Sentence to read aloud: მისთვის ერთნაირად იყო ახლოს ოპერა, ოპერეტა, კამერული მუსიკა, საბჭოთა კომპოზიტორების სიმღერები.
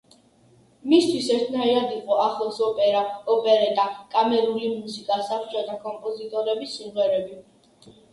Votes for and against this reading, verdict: 2, 0, accepted